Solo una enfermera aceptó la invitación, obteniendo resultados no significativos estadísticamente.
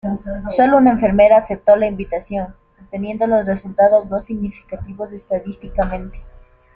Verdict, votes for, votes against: rejected, 0, 2